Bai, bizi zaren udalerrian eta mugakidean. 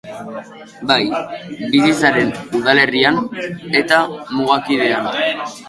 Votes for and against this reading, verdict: 2, 0, accepted